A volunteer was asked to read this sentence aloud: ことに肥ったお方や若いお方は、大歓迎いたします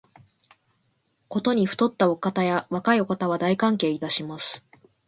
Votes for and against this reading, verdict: 12, 2, accepted